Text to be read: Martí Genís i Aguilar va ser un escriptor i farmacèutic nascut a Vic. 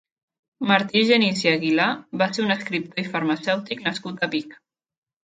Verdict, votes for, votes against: rejected, 0, 2